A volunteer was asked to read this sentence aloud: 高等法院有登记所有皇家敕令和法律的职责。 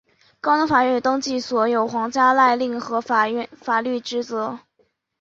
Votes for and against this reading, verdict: 0, 2, rejected